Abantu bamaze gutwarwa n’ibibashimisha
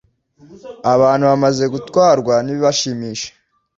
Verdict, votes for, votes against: accepted, 2, 0